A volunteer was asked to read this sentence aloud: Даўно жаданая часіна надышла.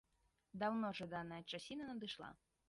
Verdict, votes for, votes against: accepted, 2, 0